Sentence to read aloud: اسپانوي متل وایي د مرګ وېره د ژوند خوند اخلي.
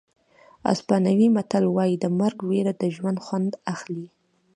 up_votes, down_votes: 1, 2